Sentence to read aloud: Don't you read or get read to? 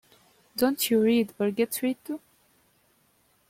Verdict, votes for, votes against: rejected, 1, 2